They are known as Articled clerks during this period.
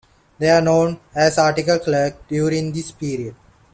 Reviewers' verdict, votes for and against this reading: accepted, 2, 1